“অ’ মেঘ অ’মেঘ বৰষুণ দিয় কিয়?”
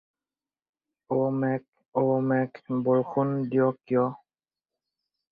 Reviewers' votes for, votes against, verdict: 4, 0, accepted